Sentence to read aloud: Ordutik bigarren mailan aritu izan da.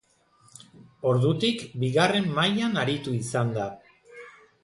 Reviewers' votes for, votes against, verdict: 2, 0, accepted